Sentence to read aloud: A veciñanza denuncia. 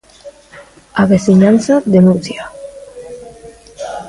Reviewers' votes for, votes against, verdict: 2, 0, accepted